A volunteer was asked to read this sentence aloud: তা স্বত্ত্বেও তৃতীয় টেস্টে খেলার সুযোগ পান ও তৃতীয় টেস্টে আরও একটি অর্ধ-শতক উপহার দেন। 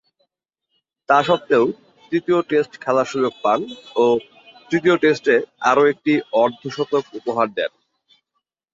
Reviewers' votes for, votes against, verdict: 0, 2, rejected